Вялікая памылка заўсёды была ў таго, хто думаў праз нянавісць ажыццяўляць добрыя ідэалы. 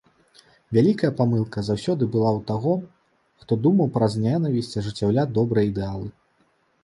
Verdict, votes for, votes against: rejected, 1, 2